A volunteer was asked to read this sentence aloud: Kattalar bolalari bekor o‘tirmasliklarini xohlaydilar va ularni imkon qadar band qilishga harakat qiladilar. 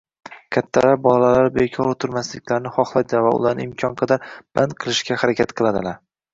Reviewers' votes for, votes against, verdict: 1, 2, rejected